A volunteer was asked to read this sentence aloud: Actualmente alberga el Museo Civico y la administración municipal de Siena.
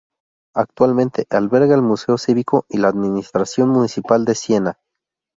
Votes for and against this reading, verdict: 2, 2, rejected